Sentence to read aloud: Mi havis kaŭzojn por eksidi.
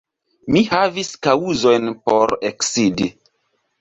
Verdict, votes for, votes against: rejected, 1, 2